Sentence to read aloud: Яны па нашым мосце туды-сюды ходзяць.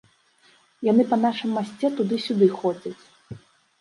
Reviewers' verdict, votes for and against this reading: rejected, 0, 2